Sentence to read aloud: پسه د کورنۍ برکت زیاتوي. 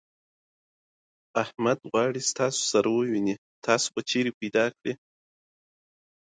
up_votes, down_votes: 1, 2